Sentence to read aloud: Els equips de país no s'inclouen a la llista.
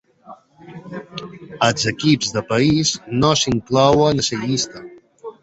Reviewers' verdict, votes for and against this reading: rejected, 0, 2